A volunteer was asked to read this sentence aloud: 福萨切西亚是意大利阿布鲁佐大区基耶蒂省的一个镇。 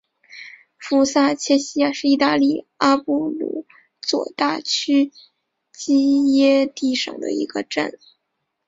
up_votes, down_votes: 3, 0